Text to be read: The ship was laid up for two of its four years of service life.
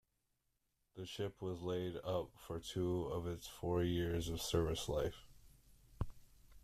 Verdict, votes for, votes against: accepted, 2, 0